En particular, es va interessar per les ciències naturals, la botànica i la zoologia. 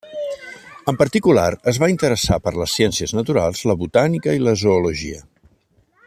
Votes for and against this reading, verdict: 3, 0, accepted